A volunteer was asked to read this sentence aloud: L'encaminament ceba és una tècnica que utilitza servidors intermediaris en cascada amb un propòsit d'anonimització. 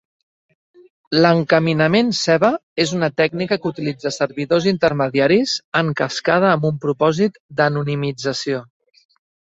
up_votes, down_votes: 2, 0